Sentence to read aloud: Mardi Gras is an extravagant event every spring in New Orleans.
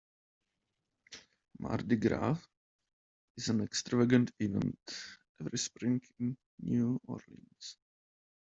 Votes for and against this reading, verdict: 0, 2, rejected